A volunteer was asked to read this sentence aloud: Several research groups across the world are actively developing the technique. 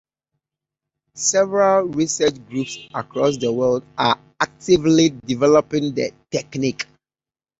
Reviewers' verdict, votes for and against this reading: accepted, 2, 0